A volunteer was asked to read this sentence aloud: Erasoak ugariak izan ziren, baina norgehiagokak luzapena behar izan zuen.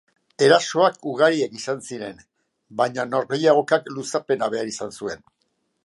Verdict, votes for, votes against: accepted, 4, 0